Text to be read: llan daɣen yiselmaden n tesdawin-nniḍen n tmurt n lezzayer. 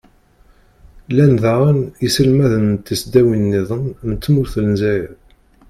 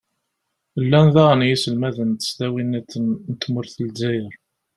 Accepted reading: second